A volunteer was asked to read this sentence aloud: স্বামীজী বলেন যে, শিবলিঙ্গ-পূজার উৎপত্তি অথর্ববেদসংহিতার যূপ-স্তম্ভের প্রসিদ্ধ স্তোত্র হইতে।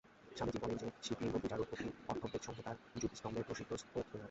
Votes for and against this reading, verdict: 0, 2, rejected